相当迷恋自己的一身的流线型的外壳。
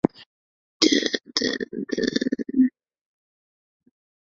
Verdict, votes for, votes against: accepted, 2, 1